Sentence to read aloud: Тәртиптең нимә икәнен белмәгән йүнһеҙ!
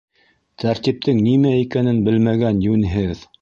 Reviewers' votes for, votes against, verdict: 1, 2, rejected